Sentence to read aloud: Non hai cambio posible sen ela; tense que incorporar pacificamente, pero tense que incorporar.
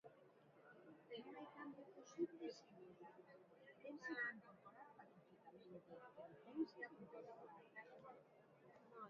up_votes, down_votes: 1, 2